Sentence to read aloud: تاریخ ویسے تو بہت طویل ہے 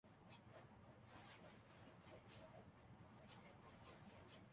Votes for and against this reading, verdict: 0, 2, rejected